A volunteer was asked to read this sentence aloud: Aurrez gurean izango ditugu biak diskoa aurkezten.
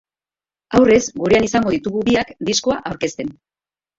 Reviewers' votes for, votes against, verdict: 2, 1, accepted